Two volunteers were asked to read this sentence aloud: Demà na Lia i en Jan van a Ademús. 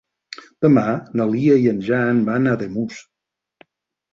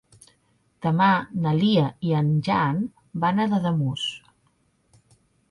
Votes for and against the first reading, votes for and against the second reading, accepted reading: 4, 0, 2, 3, first